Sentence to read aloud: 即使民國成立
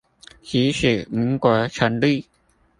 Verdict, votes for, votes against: accepted, 2, 1